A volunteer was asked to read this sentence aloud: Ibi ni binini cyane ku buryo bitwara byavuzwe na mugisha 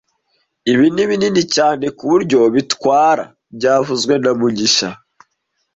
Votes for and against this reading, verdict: 2, 0, accepted